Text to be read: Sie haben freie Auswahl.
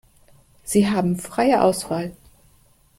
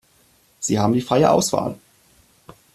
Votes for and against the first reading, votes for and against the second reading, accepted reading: 3, 1, 1, 2, first